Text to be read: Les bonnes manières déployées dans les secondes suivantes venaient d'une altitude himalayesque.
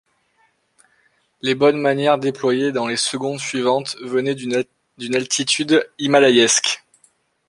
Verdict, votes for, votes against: rejected, 0, 2